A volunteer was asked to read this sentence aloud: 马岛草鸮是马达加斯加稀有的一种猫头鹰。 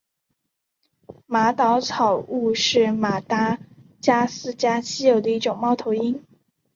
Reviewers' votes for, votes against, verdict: 0, 4, rejected